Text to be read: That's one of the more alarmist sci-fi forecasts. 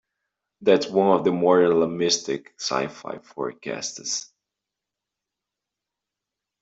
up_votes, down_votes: 0, 2